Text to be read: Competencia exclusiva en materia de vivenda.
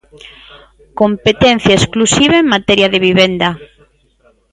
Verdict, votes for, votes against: accepted, 2, 0